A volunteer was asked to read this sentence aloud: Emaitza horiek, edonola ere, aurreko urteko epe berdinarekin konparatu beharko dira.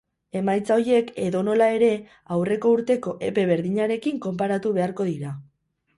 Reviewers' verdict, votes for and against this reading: rejected, 2, 4